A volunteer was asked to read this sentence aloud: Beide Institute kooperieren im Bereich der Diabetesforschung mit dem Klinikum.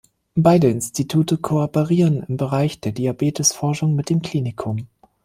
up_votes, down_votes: 2, 0